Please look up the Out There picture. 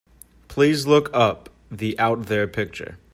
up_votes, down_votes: 2, 0